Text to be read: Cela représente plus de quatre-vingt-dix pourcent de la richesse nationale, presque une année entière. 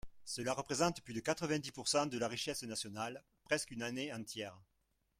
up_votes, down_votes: 2, 1